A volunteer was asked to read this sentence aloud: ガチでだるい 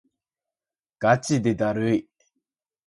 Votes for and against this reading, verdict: 4, 0, accepted